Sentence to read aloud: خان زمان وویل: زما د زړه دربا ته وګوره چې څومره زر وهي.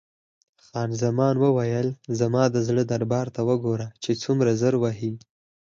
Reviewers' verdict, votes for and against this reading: accepted, 6, 2